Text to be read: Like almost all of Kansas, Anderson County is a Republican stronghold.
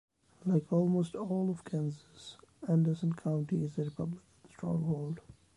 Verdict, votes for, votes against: rejected, 1, 3